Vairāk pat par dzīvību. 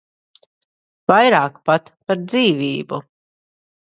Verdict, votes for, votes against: accepted, 2, 0